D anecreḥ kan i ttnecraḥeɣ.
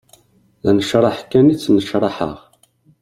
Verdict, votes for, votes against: accepted, 2, 0